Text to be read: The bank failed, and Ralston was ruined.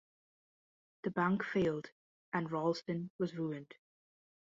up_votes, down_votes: 2, 0